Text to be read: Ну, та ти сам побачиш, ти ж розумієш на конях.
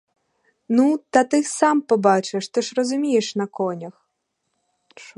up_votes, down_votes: 0, 4